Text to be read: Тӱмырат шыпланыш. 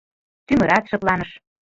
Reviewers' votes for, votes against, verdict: 0, 2, rejected